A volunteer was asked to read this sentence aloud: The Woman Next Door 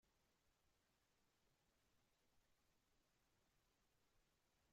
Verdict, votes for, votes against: rejected, 0, 2